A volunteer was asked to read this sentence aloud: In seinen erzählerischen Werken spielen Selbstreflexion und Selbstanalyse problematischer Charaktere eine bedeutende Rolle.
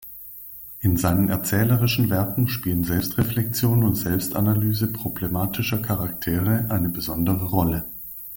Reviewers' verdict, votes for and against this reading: rejected, 0, 2